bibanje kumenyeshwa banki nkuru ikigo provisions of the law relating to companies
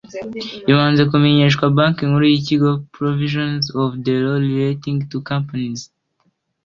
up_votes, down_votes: 2, 1